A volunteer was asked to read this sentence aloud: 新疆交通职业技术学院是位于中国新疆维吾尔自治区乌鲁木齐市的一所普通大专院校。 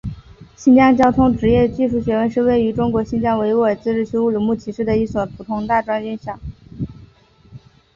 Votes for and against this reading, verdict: 2, 0, accepted